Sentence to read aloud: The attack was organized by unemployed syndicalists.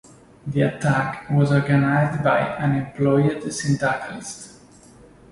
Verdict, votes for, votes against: rejected, 0, 2